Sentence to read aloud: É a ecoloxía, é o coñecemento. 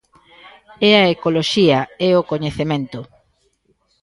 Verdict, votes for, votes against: rejected, 1, 2